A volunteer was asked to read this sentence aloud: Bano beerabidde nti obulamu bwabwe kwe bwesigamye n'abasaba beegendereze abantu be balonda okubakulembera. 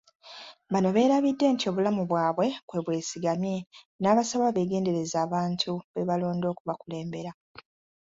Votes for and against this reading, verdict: 2, 0, accepted